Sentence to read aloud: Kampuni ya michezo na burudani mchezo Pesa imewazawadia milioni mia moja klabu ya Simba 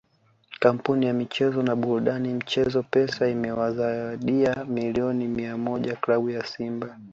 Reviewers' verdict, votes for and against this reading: accepted, 2, 0